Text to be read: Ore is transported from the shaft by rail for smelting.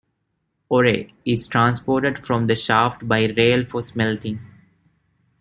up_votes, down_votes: 0, 2